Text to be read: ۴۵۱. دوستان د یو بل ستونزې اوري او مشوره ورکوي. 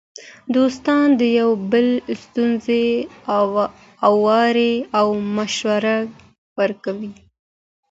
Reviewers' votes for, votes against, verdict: 0, 2, rejected